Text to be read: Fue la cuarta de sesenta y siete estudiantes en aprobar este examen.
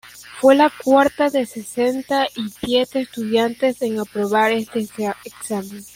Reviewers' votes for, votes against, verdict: 0, 2, rejected